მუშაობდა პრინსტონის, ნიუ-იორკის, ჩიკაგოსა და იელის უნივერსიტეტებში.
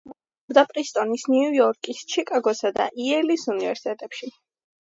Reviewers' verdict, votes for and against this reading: rejected, 0, 2